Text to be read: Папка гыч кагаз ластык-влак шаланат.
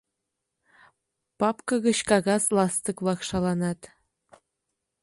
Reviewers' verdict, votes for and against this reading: accepted, 2, 0